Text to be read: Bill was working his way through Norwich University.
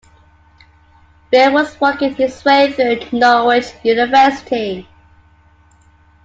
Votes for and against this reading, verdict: 2, 0, accepted